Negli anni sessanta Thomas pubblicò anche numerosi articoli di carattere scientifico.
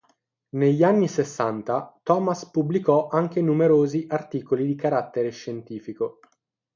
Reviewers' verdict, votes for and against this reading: accepted, 6, 0